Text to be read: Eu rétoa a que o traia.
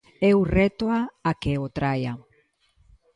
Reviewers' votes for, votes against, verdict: 2, 0, accepted